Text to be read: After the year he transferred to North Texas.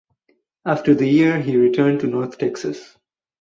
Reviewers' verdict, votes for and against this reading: rejected, 0, 4